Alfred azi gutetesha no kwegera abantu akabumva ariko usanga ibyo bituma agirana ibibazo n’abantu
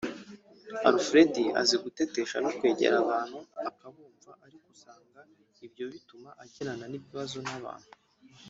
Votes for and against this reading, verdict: 1, 2, rejected